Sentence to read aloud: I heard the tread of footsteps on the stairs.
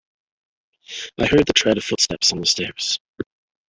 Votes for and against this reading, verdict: 1, 2, rejected